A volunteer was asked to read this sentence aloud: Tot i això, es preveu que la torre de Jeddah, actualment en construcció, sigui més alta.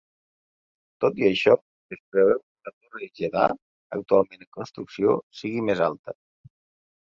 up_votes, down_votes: 0, 2